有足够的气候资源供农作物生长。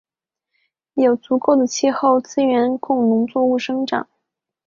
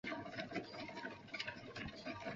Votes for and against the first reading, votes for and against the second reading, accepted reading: 4, 0, 0, 2, first